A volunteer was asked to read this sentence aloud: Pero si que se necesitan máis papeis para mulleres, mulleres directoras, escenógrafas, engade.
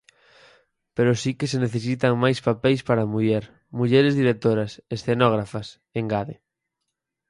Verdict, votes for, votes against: rejected, 2, 4